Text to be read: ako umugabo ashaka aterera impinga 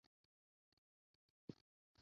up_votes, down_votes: 0, 2